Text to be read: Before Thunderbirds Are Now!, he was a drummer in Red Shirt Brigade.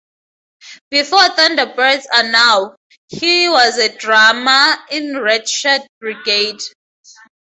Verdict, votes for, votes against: rejected, 0, 2